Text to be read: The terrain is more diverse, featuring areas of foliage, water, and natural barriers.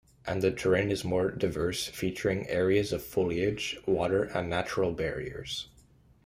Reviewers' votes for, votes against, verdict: 0, 2, rejected